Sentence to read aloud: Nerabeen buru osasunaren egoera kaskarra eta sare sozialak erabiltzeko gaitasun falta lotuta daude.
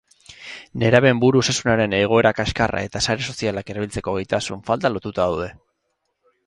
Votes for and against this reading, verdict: 4, 0, accepted